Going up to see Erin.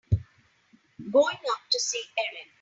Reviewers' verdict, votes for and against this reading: accepted, 3, 0